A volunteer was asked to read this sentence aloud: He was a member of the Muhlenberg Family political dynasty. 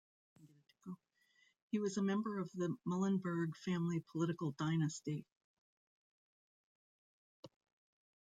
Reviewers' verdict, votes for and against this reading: rejected, 0, 2